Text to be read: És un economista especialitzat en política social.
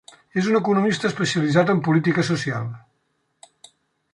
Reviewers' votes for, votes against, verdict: 1, 2, rejected